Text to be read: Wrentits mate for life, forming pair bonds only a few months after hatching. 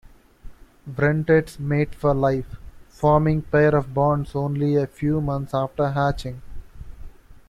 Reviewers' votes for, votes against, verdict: 2, 1, accepted